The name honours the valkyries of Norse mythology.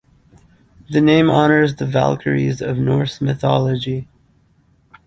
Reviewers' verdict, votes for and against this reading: accepted, 2, 1